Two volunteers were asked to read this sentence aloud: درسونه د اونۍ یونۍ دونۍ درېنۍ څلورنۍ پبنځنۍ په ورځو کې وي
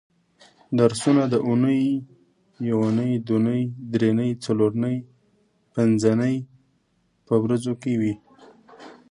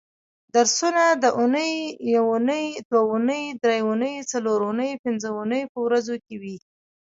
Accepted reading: first